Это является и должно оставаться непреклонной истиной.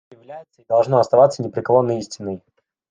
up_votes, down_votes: 1, 2